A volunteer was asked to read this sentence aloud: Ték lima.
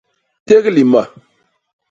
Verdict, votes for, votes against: rejected, 0, 2